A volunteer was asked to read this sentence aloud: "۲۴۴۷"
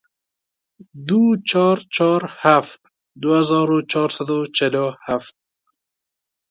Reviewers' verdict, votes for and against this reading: rejected, 0, 2